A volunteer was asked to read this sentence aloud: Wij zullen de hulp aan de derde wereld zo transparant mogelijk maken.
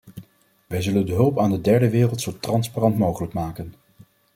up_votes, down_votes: 2, 0